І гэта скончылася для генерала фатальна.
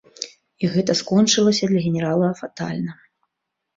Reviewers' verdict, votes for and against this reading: accepted, 2, 0